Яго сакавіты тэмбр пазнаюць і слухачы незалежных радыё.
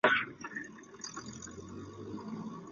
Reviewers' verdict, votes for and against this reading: rejected, 0, 2